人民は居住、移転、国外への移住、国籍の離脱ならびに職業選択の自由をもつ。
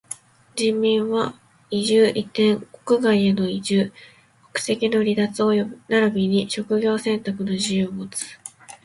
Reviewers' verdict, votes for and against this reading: rejected, 0, 2